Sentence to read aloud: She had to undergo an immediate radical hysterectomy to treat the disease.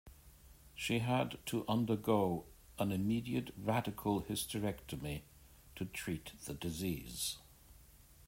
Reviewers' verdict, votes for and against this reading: accepted, 2, 0